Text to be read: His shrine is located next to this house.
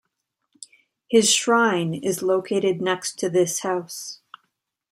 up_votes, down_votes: 2, 0